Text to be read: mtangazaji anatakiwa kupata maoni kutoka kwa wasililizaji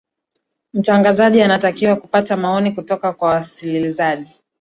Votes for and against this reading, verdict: 3, 0, accepted